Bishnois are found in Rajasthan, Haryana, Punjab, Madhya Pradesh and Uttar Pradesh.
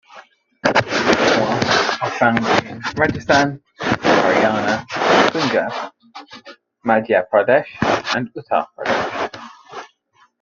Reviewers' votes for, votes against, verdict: 0, 3, rejected